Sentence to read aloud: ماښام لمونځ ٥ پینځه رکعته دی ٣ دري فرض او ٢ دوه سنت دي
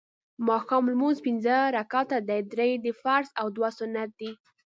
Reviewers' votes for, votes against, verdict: 0, 2, rejected